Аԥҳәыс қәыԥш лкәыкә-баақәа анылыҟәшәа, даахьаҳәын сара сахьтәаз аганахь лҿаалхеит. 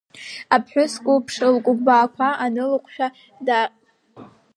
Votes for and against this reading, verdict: 1, 2, rejected